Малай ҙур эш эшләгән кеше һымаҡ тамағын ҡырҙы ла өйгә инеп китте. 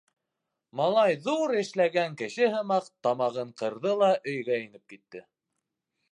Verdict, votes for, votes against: rejected, 2, 3